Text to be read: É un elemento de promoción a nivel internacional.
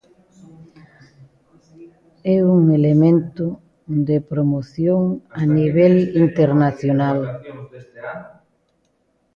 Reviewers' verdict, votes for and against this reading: rejected, 1, 2